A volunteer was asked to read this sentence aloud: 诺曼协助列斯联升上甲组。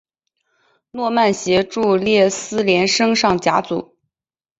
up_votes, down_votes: 2, 0